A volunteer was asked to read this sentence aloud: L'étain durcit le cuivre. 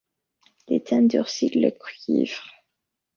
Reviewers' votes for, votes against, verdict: 2, 0, accepted